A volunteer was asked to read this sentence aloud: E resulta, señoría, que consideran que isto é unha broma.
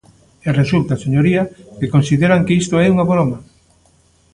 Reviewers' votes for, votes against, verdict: 2, 0, accepted